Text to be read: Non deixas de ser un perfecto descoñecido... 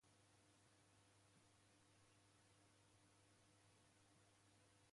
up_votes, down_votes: 0, 3